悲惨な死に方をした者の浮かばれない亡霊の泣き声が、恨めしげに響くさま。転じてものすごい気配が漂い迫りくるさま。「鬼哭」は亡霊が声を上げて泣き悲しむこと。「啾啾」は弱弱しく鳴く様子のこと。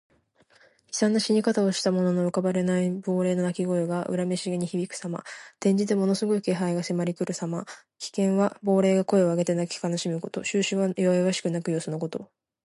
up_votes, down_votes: 0, 2